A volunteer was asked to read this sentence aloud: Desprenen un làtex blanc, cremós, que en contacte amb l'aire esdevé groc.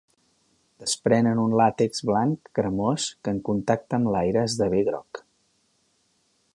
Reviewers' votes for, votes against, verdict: 4, 0, accepted